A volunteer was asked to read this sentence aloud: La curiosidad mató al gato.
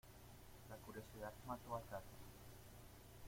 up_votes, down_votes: 0, 2